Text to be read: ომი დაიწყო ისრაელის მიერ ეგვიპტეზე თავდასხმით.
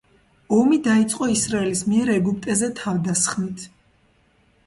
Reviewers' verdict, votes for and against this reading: accepted, 2, 0